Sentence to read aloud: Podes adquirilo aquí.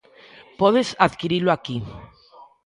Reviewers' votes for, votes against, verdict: 2, 0, accepted